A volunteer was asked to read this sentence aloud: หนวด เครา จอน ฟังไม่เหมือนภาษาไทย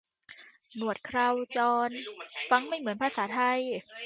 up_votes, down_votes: 0, 2